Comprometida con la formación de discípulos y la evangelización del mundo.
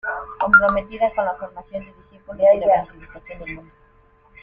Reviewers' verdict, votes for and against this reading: rejected, 0, 2